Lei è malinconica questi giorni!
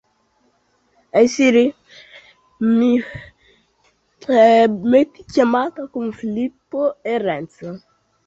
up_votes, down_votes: 0, 2